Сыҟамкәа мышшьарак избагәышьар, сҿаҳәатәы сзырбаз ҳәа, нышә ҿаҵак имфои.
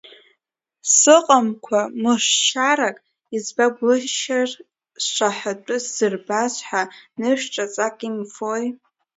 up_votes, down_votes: 0, 2